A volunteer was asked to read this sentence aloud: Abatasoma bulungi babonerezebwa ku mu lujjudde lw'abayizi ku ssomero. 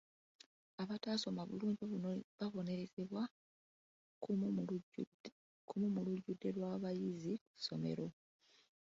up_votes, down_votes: 0, 2